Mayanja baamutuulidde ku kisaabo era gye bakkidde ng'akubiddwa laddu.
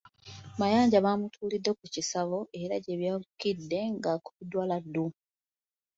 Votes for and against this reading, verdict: 2, 1, accepted